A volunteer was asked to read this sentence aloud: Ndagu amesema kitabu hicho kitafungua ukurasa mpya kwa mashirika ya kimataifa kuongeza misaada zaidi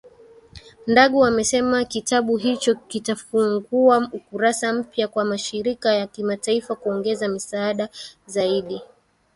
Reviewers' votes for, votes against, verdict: 2, 0, accepted